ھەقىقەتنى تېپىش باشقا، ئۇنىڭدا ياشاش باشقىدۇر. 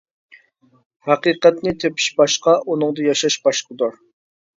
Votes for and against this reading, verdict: 2, 0, accepted